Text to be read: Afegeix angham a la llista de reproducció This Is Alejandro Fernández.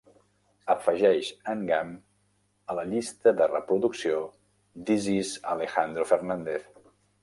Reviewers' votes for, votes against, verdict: 0, 2, rejected